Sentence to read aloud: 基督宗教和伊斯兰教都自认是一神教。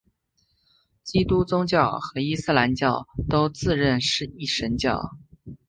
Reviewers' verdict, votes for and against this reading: accepted, 2, 0